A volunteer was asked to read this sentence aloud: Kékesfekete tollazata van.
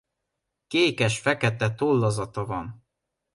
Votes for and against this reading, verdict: 2, 0, accepted